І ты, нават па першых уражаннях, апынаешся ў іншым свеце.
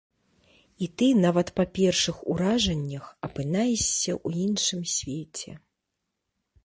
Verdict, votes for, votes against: accepted, 2, 0